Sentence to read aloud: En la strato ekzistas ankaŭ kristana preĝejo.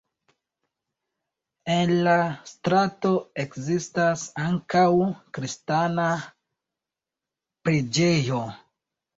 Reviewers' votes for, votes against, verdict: 3, 1, accepted